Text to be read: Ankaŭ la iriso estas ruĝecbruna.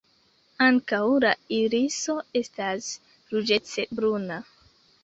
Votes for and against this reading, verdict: 0, 2, rejected